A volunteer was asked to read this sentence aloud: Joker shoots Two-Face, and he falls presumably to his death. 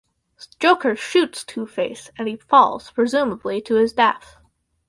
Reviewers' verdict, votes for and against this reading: rejected, 0, 2